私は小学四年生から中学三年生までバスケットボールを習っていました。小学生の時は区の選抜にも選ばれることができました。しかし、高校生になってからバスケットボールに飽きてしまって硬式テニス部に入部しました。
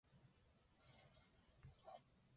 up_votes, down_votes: 0, 2